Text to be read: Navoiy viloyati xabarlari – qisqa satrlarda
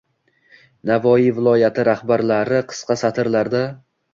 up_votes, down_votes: 1, 2